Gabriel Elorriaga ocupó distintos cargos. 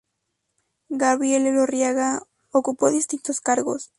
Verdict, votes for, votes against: accepted, 4, 0